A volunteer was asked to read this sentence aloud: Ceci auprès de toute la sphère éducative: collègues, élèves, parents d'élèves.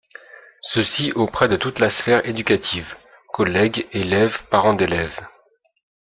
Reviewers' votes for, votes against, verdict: 2, 0, accepted